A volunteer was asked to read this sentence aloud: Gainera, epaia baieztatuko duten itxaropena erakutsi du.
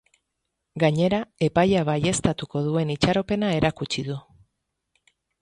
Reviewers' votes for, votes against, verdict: 2, 2, rejected